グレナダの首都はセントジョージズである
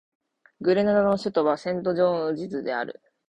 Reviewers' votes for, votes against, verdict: 17, 0, accepted